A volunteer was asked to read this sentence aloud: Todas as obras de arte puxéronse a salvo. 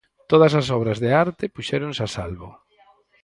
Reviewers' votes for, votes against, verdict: 2, 4, rejected